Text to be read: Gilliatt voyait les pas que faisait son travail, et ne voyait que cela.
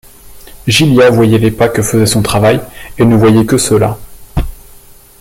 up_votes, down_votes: 1, 2